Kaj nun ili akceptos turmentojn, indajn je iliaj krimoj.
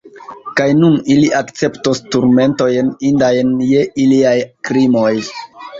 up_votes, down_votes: 2, 0